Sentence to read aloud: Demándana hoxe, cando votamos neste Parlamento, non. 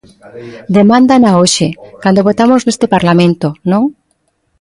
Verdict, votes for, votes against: rejected, 0, 2